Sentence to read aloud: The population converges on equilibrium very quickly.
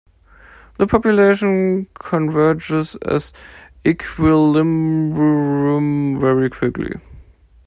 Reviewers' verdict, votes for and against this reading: rejected, 0, 2